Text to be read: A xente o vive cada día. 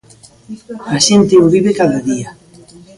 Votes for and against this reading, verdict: 2, 1, accepted